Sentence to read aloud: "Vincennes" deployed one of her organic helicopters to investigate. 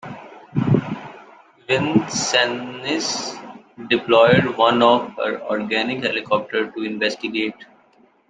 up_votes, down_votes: 1, 2